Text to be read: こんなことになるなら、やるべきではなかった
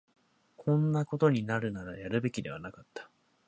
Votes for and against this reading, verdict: 2, 0, accepted